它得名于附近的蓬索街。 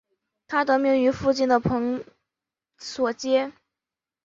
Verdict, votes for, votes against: accepted, 3, 1